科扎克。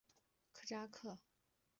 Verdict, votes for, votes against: rejected, 0, 2